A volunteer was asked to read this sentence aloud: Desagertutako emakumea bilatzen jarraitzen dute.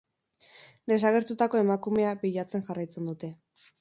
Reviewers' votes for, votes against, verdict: 10, 0, accepted